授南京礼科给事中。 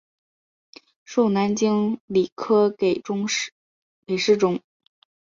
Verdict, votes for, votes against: accepted, 4, 1